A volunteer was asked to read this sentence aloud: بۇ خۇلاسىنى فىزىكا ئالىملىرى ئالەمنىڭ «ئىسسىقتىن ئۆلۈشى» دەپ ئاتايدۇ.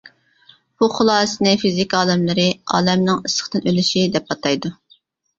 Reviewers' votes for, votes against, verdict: 2, 0, accepted